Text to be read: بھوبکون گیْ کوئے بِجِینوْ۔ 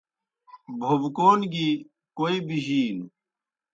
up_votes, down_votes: 2, 0